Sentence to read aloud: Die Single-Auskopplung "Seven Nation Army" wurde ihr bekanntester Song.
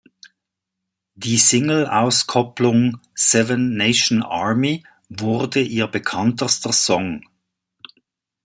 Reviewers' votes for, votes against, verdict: 2, 0, accepted